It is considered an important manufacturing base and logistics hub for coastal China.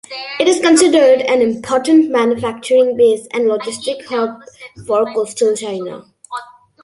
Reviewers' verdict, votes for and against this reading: accepted, 2, 0